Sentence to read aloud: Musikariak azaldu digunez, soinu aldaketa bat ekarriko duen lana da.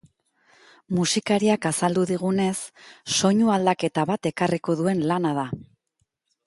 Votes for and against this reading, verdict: 5, 0, accepted